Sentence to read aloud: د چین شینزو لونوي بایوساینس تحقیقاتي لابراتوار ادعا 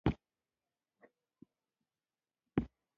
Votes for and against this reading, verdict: 2, 3, rejected